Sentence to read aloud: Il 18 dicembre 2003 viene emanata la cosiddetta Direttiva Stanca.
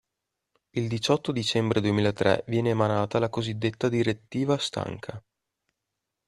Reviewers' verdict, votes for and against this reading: rejected, 0, 2